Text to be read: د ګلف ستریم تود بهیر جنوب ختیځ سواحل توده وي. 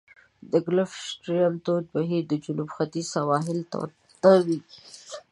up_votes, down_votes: 1, 2